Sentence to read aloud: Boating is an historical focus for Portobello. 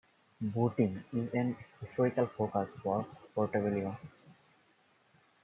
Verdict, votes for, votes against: accepted, 2, 1